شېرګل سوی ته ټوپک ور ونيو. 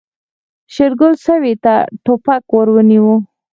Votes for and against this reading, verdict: 0, 4, rejected